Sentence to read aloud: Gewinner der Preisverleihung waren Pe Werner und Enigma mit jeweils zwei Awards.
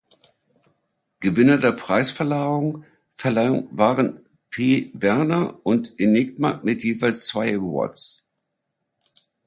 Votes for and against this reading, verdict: 1, 2, rejected